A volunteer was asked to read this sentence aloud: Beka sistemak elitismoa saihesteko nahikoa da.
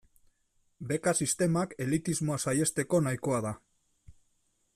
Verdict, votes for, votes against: accepted, 2, 0